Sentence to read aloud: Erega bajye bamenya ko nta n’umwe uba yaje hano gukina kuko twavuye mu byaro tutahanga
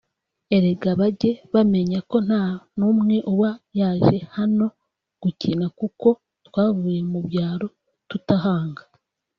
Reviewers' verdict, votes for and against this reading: rejected, 1, 2